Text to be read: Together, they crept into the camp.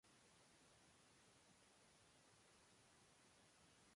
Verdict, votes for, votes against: rejected, 0, 2